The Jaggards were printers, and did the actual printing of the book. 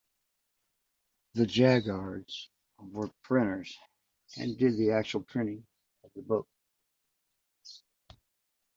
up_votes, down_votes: 1, 2